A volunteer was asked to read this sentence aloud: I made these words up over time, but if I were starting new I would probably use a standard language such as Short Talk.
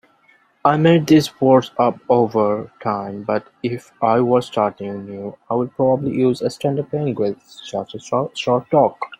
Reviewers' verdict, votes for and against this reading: rejected, 1, 2